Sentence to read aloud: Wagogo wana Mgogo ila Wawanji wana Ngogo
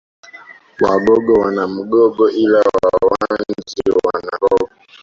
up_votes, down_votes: 1, 2